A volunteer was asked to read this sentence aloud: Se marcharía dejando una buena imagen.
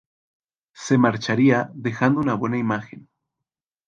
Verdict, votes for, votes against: accepted, 2, 0